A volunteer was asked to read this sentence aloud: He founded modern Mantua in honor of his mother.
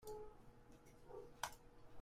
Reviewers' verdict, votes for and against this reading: rejected, 0, 2